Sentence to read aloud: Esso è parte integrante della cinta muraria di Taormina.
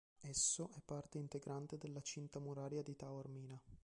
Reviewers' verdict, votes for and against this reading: rejected, 0, 2